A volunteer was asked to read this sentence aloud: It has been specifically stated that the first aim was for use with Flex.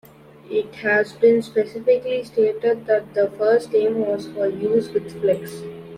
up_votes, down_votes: 2, 0